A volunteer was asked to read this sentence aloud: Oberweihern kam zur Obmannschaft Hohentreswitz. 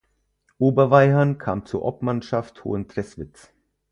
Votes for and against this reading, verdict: 2, 4, rejected